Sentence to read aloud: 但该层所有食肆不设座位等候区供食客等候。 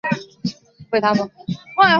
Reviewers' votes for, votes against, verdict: 1, 2, rejected